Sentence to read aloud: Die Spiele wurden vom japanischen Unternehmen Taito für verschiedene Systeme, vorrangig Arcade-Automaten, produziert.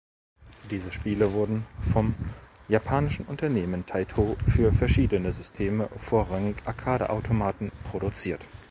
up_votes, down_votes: 0, 2